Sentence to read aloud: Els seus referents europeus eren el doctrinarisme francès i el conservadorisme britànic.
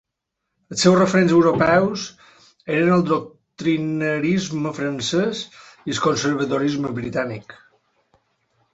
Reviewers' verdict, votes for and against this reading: rejected, 0, 2